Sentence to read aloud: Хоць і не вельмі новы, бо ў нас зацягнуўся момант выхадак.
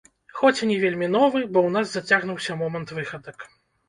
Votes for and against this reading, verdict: 0, 2, rejected